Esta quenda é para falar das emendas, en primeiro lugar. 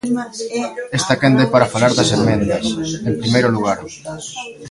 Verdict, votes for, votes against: accepted, 2, 0